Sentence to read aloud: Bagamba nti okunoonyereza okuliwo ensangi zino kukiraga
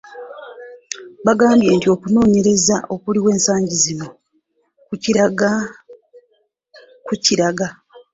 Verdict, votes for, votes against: rejected, 0, 2